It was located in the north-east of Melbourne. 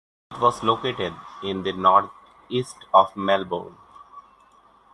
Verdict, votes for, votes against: accepted, 2, 0